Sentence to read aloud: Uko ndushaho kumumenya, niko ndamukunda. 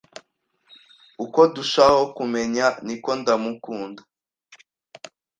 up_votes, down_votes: 1, 2